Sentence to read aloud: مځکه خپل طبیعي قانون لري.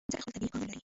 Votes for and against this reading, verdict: 0, 2, rejected